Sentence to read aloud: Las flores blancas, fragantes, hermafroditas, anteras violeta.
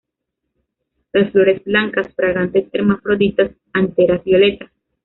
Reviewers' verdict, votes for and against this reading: rejected, 0, 2